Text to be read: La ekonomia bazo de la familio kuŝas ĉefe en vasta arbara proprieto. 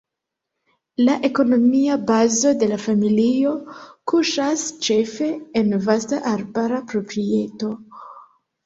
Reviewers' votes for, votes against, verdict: 2, 0, accepted